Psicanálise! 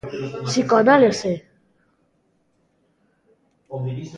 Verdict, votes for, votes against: rejected, 0, 2